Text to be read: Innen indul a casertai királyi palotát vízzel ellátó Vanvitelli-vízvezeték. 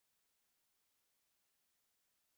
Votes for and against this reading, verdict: 0, 2, rejected